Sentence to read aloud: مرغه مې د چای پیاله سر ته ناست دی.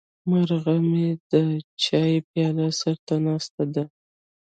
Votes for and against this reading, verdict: 1, 2, rejected